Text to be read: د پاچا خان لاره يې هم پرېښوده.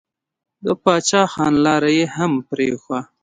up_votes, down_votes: 2, 1